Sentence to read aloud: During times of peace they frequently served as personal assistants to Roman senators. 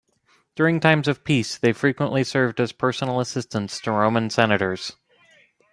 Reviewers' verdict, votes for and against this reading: accepted, 3, 0